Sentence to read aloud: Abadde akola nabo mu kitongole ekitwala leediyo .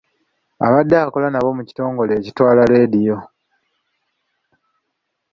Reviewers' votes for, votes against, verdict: 2, 0, accepted